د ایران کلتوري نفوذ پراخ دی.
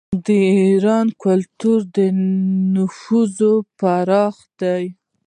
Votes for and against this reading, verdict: 0, 2, rejected